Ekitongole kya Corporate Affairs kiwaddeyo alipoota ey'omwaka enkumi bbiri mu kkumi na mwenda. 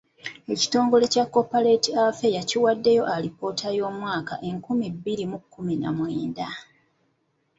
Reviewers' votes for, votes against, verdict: 3, 1, accepted